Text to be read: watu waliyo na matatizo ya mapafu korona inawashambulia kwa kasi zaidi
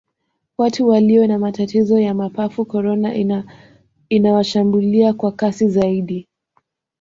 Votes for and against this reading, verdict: 1, 2, rejected